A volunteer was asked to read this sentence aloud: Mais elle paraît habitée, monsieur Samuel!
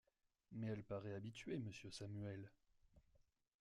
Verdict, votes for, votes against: accepted, 2, 1